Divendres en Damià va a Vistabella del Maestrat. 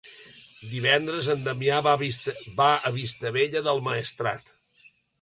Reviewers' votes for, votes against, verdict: 1, 2, rejected